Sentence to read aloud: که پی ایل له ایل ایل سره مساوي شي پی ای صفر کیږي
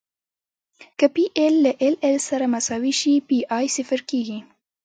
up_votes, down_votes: 2, 0